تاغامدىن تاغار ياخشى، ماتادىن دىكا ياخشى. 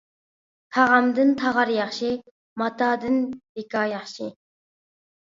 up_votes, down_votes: 2, 0